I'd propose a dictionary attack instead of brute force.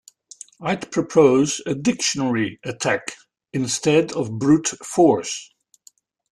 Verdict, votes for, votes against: accepted, 2, 0